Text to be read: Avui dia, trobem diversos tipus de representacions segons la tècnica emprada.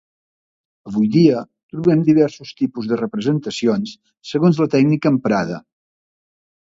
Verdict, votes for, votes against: accepted, 2, 0